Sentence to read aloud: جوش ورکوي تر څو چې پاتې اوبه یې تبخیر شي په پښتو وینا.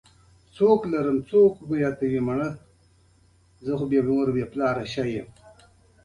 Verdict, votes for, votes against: rejected, 1, 2